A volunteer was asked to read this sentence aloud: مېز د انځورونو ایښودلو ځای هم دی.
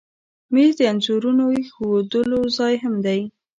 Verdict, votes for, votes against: rejected, 1, 2